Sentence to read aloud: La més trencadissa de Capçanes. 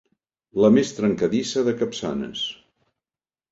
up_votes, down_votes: 4, 0